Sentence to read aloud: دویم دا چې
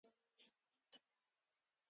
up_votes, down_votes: 2, 0